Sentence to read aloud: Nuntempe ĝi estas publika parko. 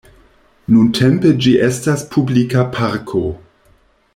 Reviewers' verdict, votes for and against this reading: accepted, 2, 0